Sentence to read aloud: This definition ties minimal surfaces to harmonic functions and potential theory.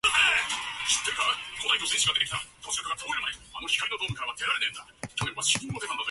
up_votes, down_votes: 0, 2